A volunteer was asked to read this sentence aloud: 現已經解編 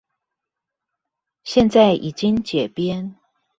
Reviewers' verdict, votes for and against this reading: rejected, 0, 2